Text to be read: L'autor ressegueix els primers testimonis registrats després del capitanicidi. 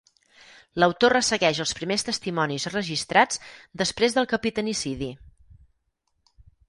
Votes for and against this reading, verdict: 6, 0, accepted